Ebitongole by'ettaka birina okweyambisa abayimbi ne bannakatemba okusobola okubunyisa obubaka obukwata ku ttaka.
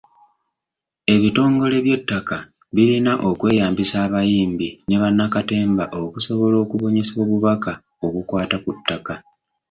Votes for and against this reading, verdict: 2, 0, accepted